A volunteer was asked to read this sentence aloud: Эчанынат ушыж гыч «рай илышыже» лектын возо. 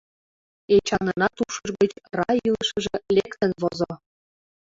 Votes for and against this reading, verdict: 0, 2, rejected